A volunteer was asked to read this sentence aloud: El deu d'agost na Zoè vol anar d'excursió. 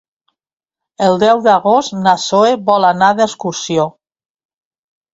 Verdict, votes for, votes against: rejected, 0, 2